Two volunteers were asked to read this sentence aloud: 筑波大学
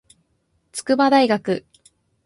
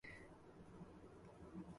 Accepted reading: first